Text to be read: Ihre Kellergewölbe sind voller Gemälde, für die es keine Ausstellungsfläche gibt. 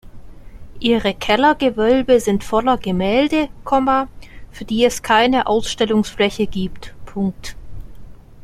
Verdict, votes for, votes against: rejected, 1, 2